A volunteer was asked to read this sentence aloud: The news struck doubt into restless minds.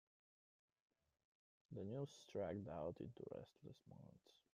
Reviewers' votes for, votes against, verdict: 1, 2, rejected